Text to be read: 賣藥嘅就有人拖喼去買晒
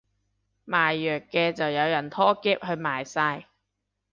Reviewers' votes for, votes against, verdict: 0, 3, rejected